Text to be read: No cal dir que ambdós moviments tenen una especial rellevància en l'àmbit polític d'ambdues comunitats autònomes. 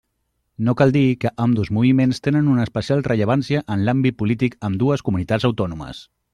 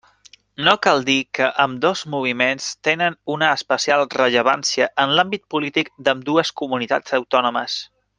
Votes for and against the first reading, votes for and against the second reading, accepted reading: 0, 2, 3, 0, second